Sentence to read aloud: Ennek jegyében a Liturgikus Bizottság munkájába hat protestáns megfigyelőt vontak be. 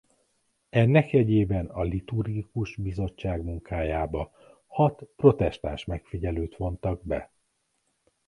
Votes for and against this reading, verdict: 2, 0, accepted